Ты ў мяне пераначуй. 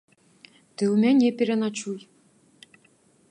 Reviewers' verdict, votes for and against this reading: accepted, 3, 0